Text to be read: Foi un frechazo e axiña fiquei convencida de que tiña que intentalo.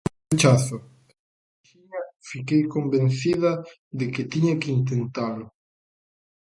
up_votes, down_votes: 0, 2